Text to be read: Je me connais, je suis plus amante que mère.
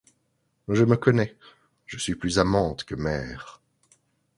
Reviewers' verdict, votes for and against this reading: accepted, 2, 0